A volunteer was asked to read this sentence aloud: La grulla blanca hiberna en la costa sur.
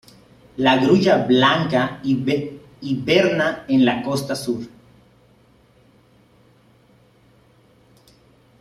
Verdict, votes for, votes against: rejected, 0, 2